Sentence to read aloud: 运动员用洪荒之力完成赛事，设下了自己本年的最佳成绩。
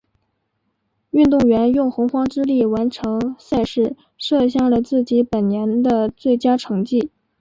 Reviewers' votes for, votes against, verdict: 5, 0, accepted